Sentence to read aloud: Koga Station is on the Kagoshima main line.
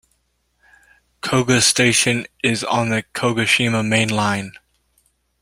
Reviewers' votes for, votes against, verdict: 1, 2, rejected